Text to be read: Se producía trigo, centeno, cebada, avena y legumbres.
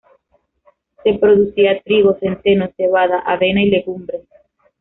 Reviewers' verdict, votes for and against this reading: accepted, 2, 0